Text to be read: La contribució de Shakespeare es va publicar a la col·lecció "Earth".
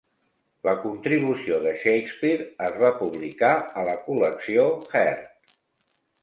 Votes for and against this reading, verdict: 0, 2, rejected